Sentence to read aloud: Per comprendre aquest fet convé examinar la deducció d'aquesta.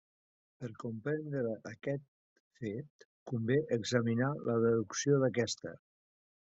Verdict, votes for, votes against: rejected, 1, 2